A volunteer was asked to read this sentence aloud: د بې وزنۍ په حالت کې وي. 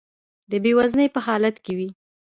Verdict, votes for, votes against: accepted, 2, 1